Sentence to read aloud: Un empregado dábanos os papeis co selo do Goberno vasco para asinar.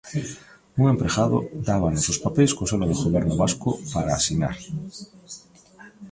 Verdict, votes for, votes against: rejected, 1, 2